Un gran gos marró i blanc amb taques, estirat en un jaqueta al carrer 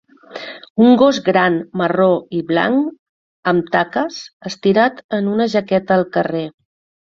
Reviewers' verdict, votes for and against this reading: rejected, 0, 2